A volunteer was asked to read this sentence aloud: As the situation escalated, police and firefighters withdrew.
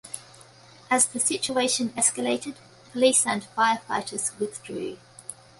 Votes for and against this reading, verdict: 2, 0, accepted